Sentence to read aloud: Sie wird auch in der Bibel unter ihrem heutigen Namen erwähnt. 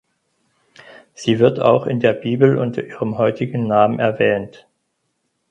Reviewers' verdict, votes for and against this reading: accepted, 4, 0